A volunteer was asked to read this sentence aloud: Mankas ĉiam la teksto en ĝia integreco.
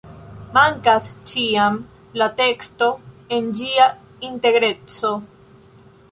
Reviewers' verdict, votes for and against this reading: accepted, 2, 0